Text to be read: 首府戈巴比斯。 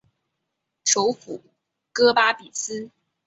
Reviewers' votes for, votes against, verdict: 2, 0, accepted